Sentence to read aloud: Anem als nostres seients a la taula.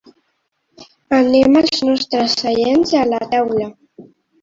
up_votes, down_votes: 2, 0